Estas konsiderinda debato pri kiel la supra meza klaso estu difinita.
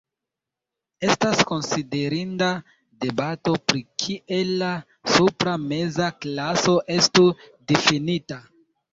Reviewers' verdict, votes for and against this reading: rejected, 0, 2